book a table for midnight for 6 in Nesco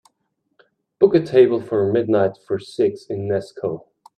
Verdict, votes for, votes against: rejected, 0, 2